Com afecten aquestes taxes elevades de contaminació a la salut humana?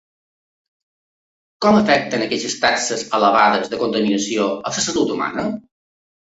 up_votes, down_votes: 2, 1